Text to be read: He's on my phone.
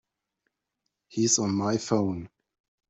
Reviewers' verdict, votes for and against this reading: accepted, 4, 0